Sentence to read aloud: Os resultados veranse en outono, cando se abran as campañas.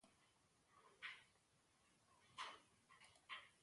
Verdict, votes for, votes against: rejected, 0, 2